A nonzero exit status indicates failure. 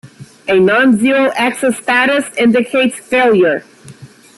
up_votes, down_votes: 1, 2